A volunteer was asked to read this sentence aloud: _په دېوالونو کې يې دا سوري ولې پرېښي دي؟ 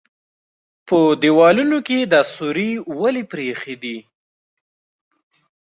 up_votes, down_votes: 2, 0